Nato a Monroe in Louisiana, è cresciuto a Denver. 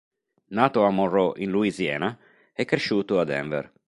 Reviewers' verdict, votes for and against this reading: accepted, 3, 0